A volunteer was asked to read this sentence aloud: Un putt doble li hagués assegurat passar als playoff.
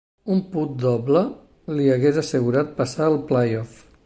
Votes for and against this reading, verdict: 0, 2, rejected